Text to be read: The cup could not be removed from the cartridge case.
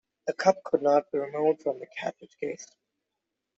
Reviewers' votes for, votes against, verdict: 1, 2, rejected